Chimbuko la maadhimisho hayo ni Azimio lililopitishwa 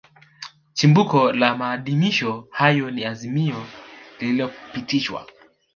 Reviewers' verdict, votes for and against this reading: accepted, 3, 0